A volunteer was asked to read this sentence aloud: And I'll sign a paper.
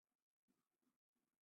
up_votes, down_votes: 0, 2